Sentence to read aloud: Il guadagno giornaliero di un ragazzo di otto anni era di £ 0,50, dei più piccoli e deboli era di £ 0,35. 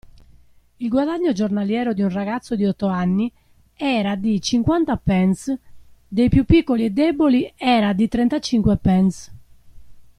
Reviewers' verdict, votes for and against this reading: rejected, 0, 2